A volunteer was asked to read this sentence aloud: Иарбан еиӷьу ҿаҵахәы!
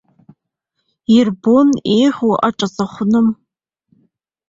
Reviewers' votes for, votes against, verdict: 0, 2, rejected